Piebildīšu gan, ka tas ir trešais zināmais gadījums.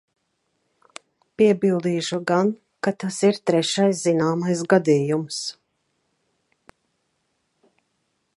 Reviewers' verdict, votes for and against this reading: accepted, 2, 0